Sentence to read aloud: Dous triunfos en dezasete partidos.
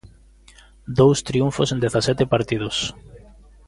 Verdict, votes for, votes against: accepted, 2, 0